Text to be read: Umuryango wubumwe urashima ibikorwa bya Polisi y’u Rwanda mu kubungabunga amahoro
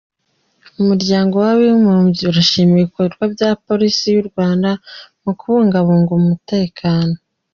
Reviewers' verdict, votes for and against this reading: rejected, 1, 2